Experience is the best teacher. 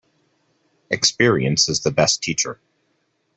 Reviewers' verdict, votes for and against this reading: accepted, 2, 0